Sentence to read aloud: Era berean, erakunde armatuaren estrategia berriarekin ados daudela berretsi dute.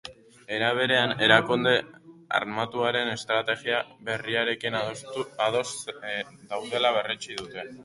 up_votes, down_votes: 0, 6